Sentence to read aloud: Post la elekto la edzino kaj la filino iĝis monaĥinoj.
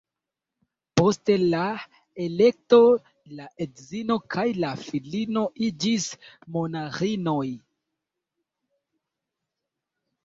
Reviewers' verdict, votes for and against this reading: rejected, 0, 2